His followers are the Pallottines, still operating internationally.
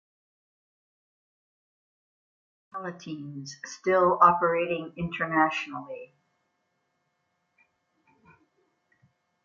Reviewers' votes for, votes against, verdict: 1, 2, rejected